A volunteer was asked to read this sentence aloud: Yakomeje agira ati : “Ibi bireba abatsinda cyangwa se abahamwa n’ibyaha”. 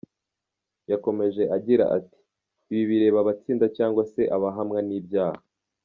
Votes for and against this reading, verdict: 2, 0, accepted